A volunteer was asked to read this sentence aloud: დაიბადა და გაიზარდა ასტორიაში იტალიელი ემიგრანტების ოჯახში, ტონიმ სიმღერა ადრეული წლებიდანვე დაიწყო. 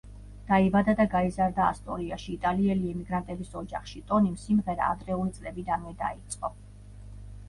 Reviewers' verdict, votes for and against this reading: rejected, 1, 2